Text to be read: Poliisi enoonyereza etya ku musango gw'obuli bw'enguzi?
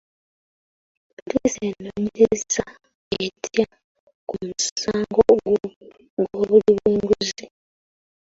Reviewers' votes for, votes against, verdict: 0, 2, rejected